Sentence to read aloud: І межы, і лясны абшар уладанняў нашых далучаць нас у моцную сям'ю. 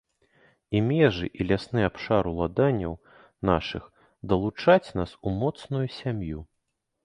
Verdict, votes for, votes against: rejected, 0, 2